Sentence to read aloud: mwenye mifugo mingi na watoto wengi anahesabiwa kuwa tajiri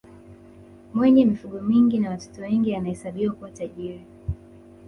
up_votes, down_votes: 1, 2